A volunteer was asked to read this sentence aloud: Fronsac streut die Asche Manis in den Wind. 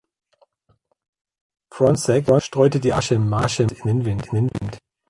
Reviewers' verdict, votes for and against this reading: rejected, 0, 2